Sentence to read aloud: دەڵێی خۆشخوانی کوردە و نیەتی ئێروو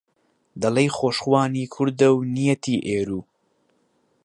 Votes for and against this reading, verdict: 4, 0, accepted